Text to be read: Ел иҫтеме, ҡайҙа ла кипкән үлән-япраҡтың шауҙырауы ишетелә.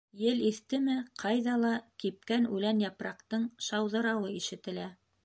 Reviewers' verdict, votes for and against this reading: accepted, 2, 0